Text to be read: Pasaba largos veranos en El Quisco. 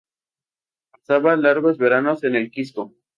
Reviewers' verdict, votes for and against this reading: rejected, 0, 2